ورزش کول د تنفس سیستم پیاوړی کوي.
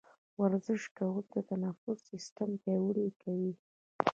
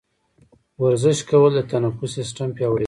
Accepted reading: second